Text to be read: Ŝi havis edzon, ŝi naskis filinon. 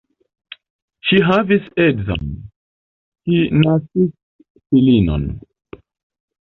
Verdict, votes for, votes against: rejected, 1, 2